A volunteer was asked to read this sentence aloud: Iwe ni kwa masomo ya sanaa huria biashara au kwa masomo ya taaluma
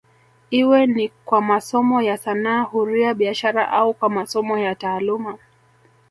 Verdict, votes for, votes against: rejected, 0, 2